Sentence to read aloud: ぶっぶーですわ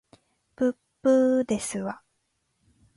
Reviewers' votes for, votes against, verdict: 2, 0, accepted